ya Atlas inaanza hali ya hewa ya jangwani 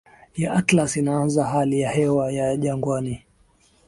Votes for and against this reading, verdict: 8, 2, accepted